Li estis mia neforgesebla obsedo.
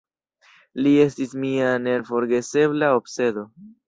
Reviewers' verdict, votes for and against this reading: accepted, 2, 0